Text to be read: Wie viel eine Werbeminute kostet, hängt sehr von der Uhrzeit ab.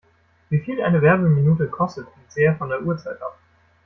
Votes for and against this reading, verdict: 2, 0, accepted